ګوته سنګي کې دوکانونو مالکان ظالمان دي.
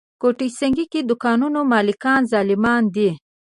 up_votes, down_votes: 2, 1